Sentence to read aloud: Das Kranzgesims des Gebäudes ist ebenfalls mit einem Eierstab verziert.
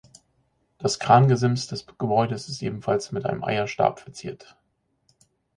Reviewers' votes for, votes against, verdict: 0, 4, rejected